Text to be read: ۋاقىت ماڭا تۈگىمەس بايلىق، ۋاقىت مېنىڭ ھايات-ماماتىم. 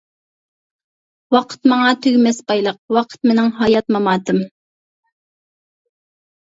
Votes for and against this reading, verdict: 2, 0, accepted